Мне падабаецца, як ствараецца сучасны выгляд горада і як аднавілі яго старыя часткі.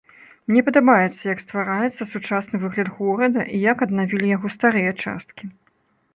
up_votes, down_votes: 2, 0